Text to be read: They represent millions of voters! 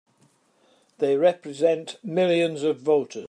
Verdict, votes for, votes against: accepted, 3, 1